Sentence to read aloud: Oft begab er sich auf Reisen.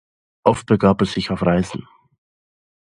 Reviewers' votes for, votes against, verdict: 2, 0, accepted